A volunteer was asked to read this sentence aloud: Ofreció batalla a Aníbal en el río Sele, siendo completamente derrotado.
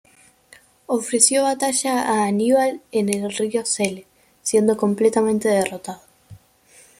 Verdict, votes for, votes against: accepted, 2, 0